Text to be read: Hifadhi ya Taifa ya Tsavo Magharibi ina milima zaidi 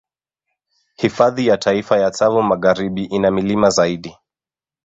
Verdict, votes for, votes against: accepted, 2, 0